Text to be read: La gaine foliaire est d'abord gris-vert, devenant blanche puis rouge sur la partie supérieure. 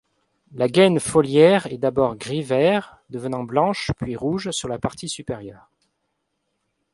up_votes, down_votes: 3, 0